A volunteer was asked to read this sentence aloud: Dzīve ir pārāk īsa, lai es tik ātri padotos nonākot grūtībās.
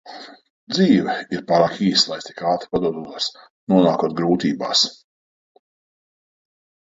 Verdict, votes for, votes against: rejected, 1, 2